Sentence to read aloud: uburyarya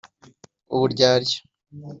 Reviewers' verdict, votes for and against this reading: accepted, 2, 0